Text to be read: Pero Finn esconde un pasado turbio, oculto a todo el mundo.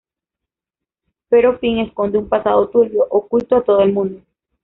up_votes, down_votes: 2, 0